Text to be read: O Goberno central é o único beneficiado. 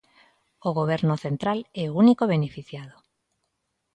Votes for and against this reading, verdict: 2, 0, accepted